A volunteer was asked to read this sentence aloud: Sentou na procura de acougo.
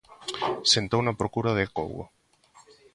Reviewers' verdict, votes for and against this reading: accepted, 3, 0